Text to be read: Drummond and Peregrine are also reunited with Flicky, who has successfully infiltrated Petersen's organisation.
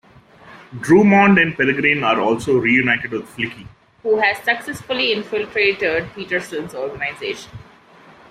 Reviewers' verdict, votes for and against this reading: rejected, 0, 2